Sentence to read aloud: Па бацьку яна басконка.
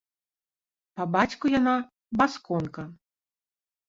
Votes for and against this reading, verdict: 3, 0, accepted